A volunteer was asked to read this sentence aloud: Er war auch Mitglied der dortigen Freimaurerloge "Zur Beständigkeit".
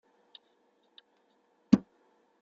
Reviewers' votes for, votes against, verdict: 0, 2, rejected